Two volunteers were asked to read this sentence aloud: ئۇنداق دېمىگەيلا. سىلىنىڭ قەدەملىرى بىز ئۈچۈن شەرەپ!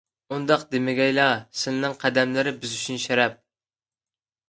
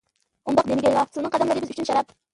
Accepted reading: first